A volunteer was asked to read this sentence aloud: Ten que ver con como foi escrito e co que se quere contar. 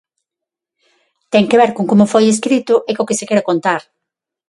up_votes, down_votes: 6, 0